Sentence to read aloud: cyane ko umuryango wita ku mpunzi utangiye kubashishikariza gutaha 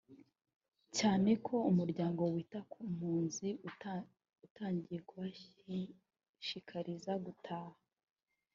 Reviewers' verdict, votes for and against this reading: rejected, 1, 2